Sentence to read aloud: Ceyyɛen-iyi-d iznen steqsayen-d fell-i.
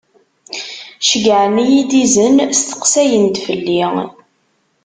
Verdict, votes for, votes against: rejected, 1, 2